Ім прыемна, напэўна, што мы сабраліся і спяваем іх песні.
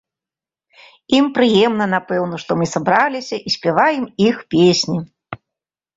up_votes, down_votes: 2, 1